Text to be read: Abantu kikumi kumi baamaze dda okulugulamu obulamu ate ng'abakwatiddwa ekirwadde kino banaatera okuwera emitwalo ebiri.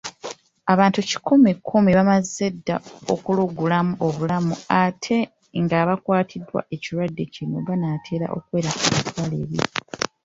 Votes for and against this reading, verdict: 2, 0, accepted